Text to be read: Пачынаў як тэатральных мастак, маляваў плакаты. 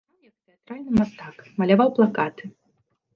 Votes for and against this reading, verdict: 0, 2, rejected